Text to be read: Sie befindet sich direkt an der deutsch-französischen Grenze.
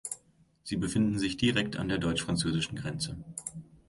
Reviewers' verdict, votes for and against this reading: rejected, 0, 2